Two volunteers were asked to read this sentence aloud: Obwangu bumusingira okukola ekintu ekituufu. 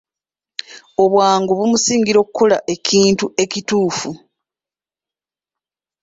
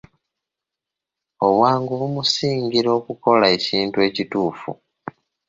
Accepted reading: second